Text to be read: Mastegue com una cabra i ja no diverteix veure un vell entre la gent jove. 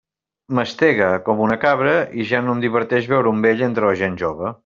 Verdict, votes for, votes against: rejected, 1, 2